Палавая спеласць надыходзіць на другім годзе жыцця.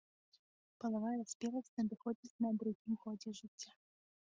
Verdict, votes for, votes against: accepted, 2, 0